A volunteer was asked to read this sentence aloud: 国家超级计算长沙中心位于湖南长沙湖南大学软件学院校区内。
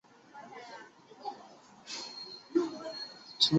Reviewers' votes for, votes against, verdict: 0, 4, rejected